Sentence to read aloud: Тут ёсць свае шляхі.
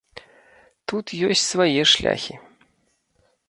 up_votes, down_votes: 2, 3